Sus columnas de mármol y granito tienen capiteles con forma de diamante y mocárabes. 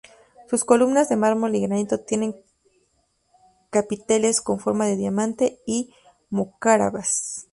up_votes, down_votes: 2, 2